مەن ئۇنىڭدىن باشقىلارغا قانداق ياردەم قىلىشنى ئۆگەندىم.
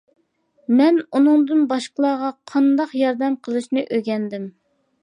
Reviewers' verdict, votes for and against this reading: accepted, 2, 0